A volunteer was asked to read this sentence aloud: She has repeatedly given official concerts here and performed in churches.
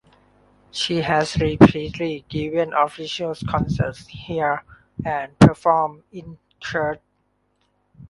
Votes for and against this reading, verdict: 0, 2, rejected